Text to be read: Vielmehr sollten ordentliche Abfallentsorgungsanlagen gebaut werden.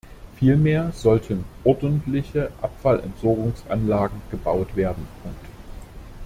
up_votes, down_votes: 1, 2